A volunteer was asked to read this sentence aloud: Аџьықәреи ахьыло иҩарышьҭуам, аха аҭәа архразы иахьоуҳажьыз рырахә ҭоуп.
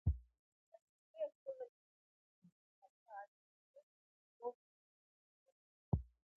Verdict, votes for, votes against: rejected, 0, 2